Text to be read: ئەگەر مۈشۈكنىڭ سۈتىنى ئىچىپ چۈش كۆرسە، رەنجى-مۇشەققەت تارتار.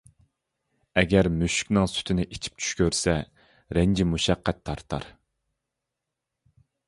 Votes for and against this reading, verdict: 2, 0, accepted